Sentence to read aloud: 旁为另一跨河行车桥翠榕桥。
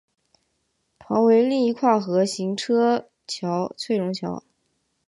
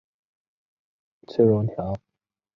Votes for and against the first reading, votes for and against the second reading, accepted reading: 7, 1, 0, 2, first